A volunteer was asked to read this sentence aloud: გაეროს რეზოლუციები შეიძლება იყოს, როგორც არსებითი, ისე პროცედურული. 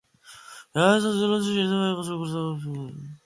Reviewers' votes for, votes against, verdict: 0, 2, rejected